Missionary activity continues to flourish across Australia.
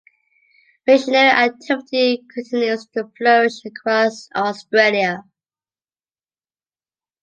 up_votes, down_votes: 2, 0